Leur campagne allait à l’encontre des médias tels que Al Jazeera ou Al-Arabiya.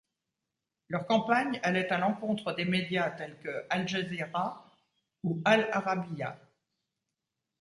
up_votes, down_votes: 2, 0